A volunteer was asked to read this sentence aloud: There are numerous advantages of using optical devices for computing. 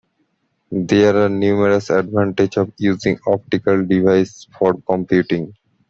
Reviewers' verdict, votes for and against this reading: rejected, 1, 2